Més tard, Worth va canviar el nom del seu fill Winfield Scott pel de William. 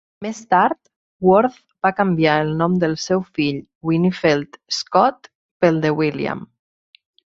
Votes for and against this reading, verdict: 4, 0, accepted